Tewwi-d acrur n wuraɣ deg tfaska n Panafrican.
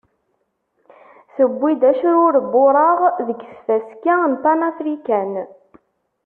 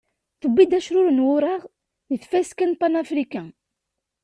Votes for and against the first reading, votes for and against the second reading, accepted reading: 1, 2, 2, 1, second